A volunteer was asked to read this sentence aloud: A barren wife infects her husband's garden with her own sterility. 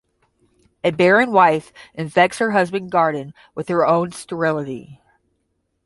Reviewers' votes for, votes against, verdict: 10, 0, accepted